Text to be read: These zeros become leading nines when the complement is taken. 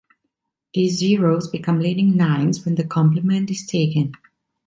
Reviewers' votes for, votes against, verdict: 2, 0, accepted